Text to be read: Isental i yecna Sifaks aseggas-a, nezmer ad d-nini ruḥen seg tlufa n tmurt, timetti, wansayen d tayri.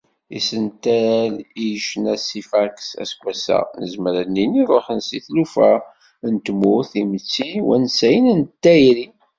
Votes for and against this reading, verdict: 1, 2, rejected